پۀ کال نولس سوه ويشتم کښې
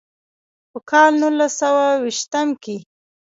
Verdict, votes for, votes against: rejected, 0, 2